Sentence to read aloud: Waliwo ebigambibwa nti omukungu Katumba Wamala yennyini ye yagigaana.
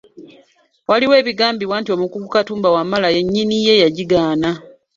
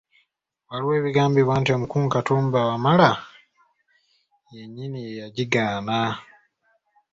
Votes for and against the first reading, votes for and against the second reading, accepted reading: 0, 2, 3, 1, second